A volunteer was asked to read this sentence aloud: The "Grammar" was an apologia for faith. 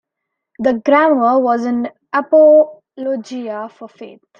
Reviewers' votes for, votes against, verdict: 1, 2, rejected